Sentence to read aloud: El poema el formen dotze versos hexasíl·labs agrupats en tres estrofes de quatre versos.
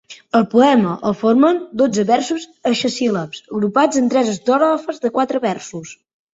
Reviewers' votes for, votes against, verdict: 1, 2, rejected